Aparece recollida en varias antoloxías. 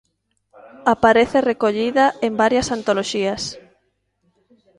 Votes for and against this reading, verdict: 2, 1, accepted